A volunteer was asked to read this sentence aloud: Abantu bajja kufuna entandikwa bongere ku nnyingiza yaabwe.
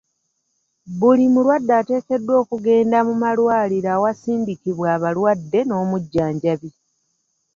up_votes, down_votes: 0, 2